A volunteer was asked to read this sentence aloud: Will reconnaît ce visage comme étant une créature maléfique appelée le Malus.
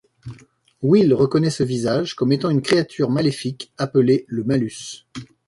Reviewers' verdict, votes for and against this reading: accepted, 2, 0